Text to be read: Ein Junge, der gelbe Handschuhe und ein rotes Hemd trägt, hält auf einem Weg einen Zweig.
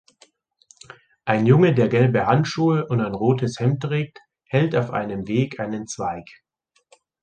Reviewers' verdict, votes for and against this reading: accepted, 2, 0